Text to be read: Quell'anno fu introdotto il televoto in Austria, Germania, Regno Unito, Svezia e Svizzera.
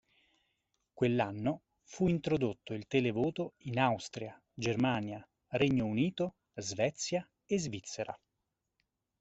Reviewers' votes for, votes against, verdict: 2, 0, accepted